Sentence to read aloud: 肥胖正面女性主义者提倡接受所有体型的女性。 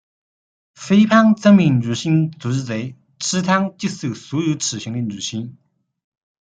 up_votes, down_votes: 0, 2